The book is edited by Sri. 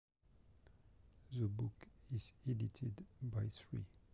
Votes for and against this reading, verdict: 0, 2, rejected